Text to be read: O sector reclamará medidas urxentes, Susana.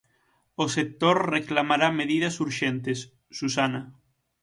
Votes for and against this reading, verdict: 6, 0, accepted